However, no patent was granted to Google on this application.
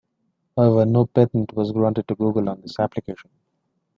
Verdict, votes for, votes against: accepted, 2, 0